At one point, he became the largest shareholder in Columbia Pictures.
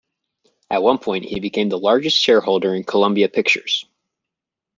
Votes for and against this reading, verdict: 2, 0, accepted